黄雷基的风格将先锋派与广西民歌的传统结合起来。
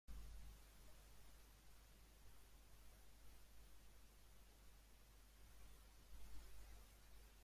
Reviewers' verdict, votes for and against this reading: rejected, 0, 2